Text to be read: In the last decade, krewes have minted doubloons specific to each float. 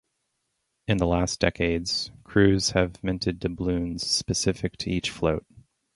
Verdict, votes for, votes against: rejected, 0, 2